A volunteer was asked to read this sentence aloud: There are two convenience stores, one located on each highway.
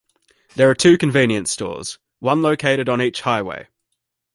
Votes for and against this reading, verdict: 2, 0, accepted